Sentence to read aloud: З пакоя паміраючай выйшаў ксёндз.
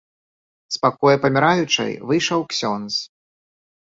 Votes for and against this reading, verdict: 2, 0, accepted